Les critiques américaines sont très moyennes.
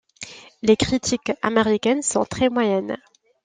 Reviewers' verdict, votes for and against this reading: accepted, 2, 0